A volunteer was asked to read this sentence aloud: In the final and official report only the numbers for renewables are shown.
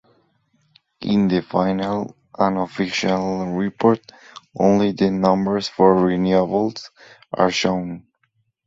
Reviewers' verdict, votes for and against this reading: accepted, 6, 0